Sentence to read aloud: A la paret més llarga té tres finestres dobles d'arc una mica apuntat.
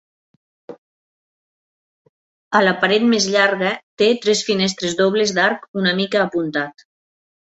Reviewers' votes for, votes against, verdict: 8, 0, accepted